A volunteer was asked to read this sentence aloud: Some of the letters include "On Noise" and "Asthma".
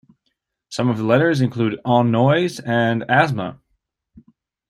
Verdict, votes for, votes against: accepted, 2, 0